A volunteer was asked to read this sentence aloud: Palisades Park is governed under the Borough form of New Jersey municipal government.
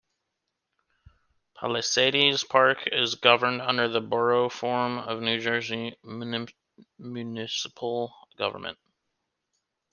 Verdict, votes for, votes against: rejected, 1, 2